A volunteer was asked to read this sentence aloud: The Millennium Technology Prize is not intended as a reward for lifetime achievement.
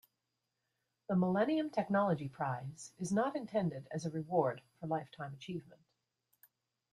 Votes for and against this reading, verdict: 2, 1, accepted